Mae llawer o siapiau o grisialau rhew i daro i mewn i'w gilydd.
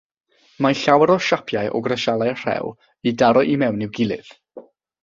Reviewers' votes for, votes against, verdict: 0, 3, rejected